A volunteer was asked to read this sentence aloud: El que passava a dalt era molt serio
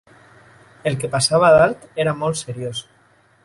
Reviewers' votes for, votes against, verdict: 0, 2, rejected